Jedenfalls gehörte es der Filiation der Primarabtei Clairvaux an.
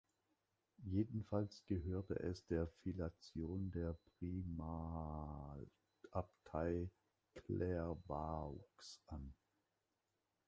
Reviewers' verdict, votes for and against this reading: rejected, 0, 2